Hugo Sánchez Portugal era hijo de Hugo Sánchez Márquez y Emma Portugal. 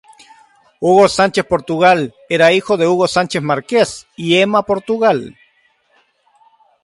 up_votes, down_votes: 0, 3